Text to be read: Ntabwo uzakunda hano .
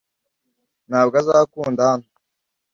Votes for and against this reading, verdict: 1, 2, rejected